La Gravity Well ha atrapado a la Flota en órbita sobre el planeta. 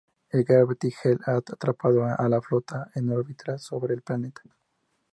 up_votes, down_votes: 2, 0